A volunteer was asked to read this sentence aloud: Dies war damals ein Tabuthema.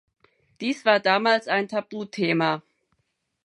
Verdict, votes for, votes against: accepted, 4, 0